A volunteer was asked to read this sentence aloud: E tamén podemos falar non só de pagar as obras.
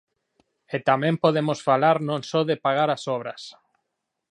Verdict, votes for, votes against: accepted, 4, 0